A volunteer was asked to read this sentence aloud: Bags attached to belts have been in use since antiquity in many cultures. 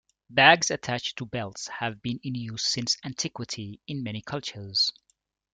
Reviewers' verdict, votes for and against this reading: rejected, 0, 2